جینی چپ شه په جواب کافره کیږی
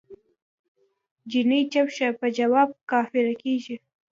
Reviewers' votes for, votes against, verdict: 3, 2, accepted